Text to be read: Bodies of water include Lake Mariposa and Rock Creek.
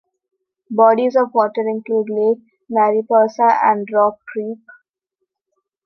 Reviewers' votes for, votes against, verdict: 2, 0, accepted